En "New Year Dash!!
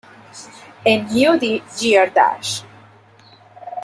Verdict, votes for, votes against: rejected, 1, 2